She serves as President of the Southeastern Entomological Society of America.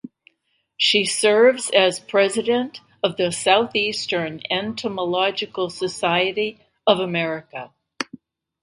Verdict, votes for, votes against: accepted, 2, 0